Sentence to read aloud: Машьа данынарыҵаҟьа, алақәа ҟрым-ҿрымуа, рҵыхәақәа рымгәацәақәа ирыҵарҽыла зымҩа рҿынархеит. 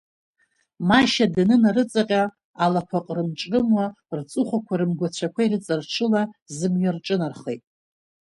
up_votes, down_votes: 0, 2